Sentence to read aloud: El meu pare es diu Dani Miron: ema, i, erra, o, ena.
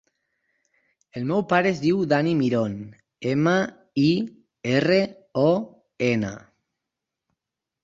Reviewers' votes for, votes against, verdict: 0, 4, rejected